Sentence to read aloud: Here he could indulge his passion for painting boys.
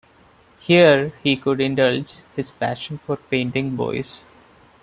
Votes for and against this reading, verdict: 1, 2, rejected